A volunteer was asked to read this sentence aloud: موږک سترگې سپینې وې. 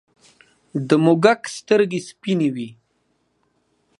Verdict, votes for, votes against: rejected, 0, 2